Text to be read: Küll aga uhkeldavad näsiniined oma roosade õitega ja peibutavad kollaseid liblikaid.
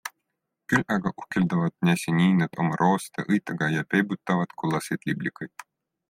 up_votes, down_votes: 2, 0